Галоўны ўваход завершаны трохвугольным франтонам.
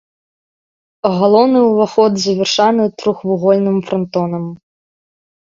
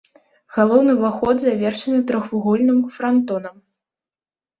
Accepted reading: second